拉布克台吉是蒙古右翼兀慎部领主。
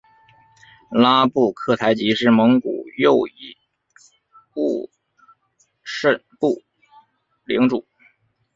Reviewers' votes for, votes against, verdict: 3, 2, accepted